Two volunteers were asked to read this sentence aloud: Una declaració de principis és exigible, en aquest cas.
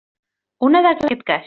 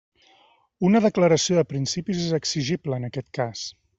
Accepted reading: second